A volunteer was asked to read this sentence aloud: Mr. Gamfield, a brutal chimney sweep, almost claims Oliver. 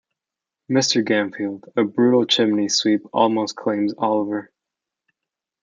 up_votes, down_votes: 2, 0